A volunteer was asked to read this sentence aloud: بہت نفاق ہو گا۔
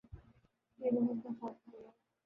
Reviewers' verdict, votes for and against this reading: rejected, 0, 4